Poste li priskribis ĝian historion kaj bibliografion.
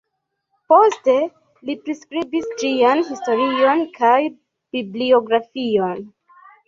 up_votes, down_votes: 2, 0